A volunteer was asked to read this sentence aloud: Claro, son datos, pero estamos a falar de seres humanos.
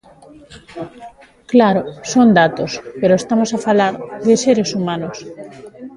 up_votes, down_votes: 2, 0